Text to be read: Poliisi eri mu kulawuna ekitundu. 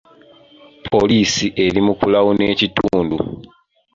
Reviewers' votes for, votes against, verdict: 2, 1, accepted